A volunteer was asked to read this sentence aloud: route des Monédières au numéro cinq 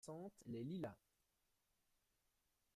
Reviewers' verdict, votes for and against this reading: rejected, 0, 2